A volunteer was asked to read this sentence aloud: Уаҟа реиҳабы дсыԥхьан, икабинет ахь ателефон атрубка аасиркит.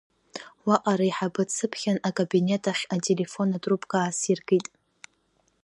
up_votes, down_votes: 1, 2